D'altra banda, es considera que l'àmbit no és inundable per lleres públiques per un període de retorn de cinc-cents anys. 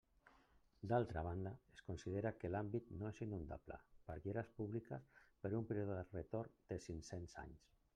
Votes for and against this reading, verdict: 1, 2, rejected